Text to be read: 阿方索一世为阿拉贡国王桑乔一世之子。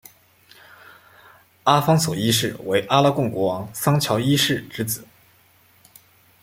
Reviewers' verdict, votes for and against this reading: accepted, 2, 0